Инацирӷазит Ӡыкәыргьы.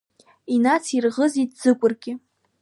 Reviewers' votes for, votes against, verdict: 2, 0, accepted